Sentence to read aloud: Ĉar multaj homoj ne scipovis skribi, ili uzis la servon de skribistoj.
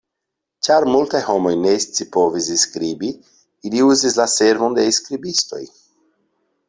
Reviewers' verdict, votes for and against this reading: rejected, 0, 2